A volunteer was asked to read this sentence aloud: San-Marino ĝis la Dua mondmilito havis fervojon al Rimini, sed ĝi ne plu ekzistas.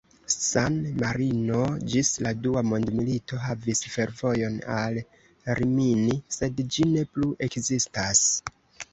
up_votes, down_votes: 2, 0